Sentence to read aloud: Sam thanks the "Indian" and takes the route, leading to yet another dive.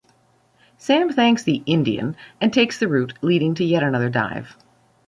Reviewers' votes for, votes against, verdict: 2, 0, accepted